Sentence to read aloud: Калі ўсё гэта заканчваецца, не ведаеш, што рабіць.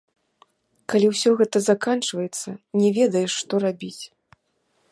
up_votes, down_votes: 2, 0